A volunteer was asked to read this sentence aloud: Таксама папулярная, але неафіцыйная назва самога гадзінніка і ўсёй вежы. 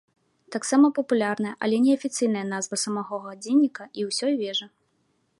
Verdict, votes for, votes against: accepted, 2, 0